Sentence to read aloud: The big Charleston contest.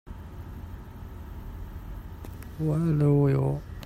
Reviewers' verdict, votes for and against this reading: rejected, 0, 2